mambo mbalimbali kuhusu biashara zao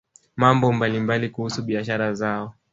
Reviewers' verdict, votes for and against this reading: rejected, 0, 2